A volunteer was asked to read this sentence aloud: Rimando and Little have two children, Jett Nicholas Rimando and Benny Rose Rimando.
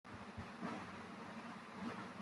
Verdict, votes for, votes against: rejected, 0, 2